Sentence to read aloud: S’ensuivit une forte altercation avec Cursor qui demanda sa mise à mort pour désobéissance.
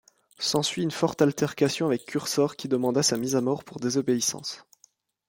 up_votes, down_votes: 0, 2